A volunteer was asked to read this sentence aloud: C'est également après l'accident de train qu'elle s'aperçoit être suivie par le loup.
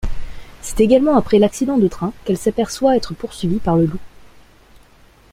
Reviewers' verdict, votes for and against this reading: rejected, 0, 2